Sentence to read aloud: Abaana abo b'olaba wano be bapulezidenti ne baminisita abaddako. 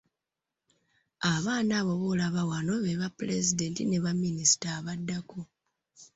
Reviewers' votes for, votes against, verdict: 2, 0, accepted